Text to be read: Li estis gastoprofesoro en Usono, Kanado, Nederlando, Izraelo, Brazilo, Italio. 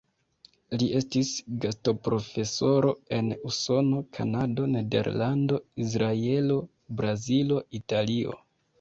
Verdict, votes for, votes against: rejected, 1, 2